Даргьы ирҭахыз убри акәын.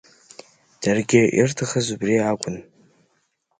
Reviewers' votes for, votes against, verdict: 3, 0, accepted